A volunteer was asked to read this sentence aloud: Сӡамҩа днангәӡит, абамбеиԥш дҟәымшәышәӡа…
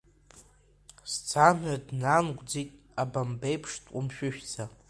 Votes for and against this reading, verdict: 2, 0, accepted